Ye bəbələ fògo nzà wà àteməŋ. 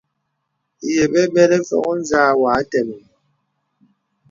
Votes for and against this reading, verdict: 2, 0, accepted